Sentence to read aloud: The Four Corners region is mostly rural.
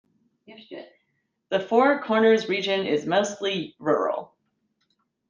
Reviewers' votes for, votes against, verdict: 1, 2, rejected